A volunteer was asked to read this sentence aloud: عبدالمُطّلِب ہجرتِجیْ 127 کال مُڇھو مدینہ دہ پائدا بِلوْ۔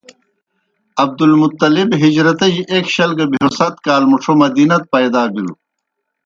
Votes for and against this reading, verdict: 0, 2, rejected